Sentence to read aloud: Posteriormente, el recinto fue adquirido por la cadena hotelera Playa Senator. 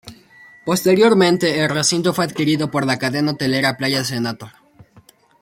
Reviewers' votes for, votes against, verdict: 2, 1, accepted